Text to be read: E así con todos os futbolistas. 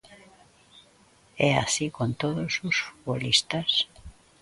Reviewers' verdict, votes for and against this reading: accepted, 2, 0